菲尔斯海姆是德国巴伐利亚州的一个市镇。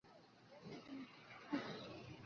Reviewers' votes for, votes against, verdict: 0, 2, rejected